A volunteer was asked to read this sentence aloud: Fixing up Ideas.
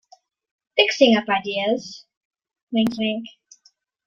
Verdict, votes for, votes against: accepted, 2, 0